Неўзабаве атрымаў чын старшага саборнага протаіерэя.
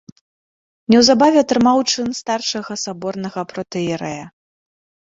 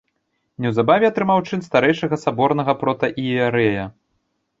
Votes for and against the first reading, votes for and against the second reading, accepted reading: 2, 1, 0, 2, first